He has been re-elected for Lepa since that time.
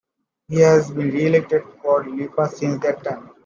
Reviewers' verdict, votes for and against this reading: accepted, 2, 1